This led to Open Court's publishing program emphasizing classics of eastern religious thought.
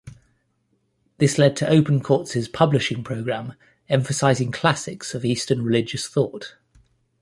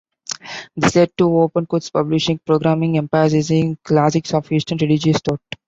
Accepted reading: first